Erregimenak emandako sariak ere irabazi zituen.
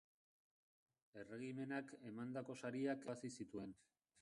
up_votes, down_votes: 0, 2